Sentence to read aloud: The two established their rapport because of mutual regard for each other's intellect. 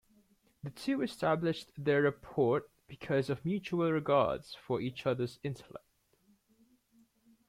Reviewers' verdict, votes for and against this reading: rejected, 0, 2